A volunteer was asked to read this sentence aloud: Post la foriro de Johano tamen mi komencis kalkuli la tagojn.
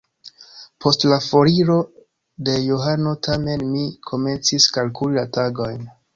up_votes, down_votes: 1, 2